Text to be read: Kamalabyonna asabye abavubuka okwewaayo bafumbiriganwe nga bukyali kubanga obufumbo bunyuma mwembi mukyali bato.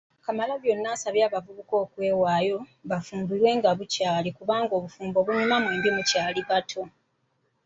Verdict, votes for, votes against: rejected, 0, 2